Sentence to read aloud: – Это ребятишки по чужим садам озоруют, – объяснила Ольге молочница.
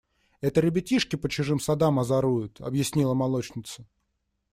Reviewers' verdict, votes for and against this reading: rejected, 1, 2